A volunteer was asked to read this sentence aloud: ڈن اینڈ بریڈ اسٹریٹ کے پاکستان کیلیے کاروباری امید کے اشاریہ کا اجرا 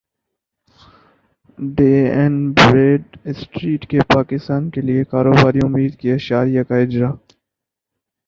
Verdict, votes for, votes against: accepted, 6, 4